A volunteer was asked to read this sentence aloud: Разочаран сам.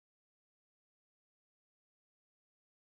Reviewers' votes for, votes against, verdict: 0, 2, rejected